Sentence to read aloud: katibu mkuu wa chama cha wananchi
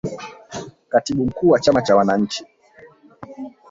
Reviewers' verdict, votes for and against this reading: rejected, 1, 2